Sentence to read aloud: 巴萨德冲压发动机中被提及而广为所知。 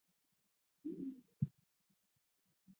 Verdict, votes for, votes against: rejected, 0, 2